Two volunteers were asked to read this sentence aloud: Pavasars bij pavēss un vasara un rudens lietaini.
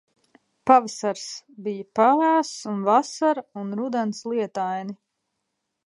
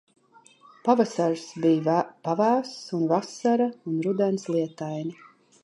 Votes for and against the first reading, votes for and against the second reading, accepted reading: 2, 0, 1, 2, first